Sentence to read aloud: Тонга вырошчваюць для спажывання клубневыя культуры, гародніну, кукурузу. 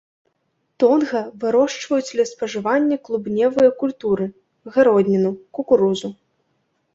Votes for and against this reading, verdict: 1, 2, rejected